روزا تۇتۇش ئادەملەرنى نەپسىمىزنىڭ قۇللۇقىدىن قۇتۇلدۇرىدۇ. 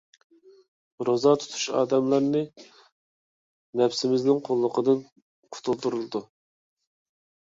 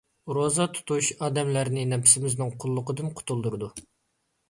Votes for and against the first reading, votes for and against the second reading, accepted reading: 1, 2, 2, 0, second